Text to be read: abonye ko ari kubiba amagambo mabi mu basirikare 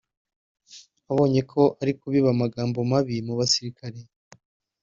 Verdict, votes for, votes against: accepted, 2, 0